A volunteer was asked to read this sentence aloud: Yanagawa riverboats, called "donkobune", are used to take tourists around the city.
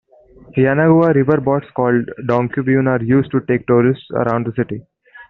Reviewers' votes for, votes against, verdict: 1, 2, rejected